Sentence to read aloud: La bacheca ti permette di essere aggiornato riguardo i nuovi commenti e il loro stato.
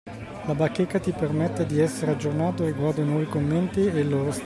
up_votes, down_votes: 0, 2